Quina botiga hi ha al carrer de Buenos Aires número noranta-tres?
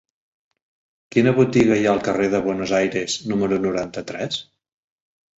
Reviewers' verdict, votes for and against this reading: accepted, 3, 0